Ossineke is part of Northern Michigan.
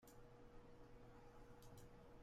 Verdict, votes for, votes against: rejected, 0, 2